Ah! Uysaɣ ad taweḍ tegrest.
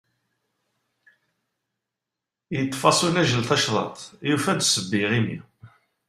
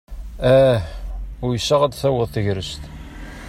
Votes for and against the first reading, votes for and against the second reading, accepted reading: 0, 2, 2, 0, second